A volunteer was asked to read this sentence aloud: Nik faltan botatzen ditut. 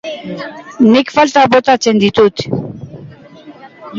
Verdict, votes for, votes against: accepted, 2, 1